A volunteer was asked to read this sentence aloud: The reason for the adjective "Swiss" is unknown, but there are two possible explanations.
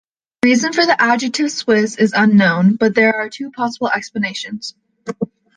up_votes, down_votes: 1, 2